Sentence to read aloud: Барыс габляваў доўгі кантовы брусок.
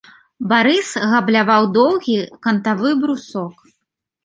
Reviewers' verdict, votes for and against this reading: rejected, 0, 2